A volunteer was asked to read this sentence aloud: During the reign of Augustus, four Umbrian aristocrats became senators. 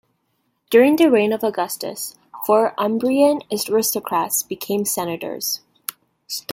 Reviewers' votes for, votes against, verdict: 2, 1, accepted